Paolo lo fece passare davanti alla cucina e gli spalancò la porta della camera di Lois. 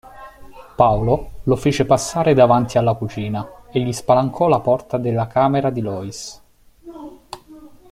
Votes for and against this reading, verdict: 2, 0, accepted